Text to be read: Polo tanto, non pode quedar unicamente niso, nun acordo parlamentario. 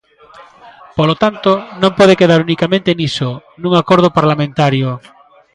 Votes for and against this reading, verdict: 1, 2, rejected